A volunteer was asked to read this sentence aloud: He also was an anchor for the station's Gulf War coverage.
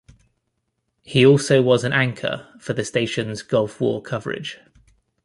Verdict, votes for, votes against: accepted, 2, 0